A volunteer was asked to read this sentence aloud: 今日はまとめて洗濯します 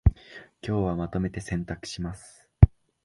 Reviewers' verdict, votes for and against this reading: accepted, 2, 0